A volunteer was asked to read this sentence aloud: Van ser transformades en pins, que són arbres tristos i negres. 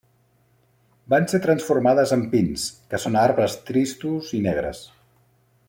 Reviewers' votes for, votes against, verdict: 3, 0, accepted